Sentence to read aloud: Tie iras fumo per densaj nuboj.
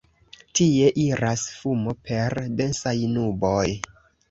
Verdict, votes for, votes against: accepted, 2, 0